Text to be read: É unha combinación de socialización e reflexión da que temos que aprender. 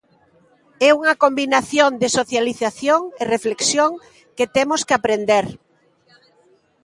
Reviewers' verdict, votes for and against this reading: rejected, 0, 2